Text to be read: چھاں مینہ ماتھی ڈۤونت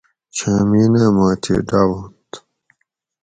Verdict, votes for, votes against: rejected, 2, 2